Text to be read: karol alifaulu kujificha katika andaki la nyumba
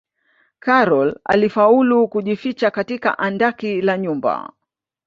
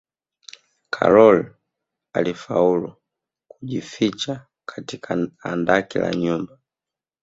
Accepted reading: first